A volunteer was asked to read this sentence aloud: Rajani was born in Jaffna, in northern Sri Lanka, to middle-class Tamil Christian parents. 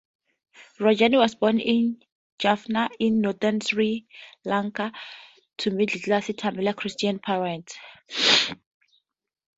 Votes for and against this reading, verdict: 2, 0, accepted